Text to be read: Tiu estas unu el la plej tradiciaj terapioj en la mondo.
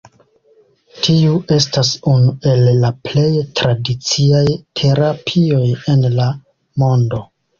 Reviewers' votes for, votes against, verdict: 1, 2, rejected